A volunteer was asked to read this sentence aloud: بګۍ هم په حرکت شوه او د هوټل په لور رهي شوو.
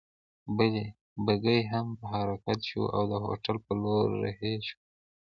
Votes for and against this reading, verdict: 1, 2, rejected